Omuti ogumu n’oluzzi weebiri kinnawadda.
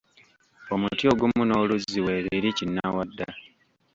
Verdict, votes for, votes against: rejected, 1, 2